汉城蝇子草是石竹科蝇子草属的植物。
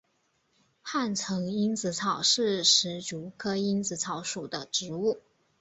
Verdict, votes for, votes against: accepted, 2, 0